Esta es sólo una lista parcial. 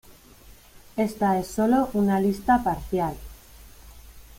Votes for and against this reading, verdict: 2, 0, accepted